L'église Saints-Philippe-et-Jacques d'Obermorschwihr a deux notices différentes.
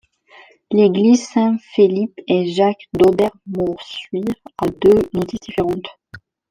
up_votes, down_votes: 1, 2